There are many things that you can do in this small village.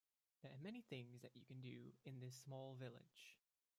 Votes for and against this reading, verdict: 1, 2, rejected